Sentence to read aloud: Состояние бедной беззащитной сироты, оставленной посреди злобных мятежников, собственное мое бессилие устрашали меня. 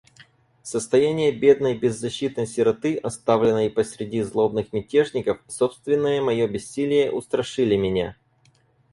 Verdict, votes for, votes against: rejected, 0, 4